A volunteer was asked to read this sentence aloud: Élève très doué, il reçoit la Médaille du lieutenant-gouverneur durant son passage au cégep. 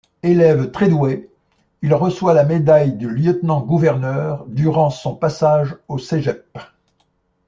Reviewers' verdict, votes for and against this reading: accepted, 2, 0